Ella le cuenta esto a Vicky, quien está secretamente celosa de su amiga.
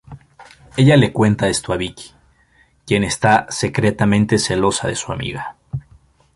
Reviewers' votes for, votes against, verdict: 2, 0, accepted